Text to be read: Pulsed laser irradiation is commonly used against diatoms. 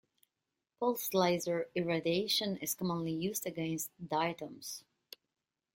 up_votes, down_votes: 1, 2